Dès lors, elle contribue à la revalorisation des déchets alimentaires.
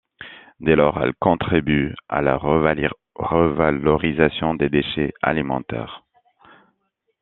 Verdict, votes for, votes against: rejected, 0, 2